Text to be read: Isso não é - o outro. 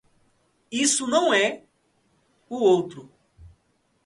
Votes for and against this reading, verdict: 2, 0, accepted